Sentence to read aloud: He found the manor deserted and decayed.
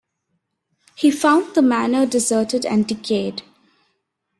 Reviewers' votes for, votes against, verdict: 2, 0, accepted